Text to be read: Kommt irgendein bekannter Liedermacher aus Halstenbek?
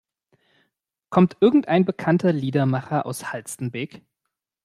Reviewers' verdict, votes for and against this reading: accepted, 2, 0